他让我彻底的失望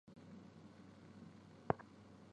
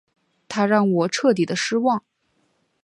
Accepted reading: second